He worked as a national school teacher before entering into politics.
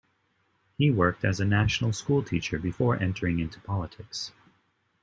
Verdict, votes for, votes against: accepted, 2, 0